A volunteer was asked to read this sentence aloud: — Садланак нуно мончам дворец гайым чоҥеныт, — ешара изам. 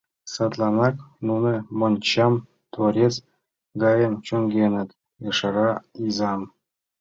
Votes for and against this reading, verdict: 1, 2, rejected